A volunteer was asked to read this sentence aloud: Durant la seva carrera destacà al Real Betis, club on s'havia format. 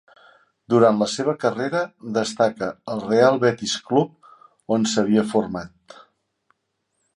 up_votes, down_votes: 0, 2